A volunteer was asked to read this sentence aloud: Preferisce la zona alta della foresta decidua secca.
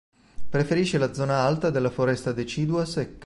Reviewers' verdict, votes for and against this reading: rejected, 0, 2